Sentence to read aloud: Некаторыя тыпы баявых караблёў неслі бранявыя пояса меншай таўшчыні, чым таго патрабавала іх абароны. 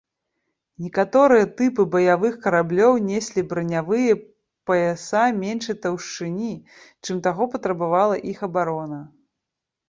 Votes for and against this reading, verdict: 1, 2, rejected